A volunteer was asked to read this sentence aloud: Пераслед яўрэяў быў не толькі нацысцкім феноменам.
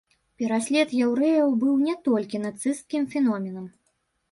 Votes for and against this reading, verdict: 1, 2, rejected